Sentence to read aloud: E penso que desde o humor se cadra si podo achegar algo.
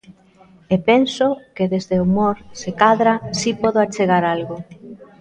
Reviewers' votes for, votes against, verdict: 2, 0, accepted